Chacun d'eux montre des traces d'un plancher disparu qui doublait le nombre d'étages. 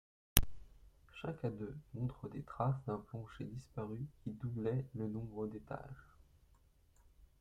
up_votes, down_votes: 2, 0